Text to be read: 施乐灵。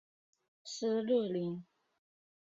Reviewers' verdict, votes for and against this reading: accepted, 3, 1